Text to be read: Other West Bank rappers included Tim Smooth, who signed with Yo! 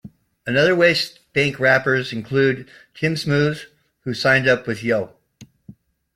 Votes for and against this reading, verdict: 0, 2, rejected